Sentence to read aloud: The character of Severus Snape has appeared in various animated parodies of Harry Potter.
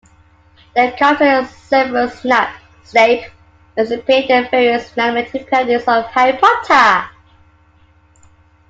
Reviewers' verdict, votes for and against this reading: rejected, 1, 2